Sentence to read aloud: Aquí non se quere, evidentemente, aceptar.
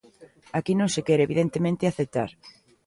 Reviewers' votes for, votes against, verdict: 2, 0, accepted